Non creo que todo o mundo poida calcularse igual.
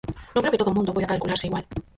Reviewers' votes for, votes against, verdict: 0, 4, rejected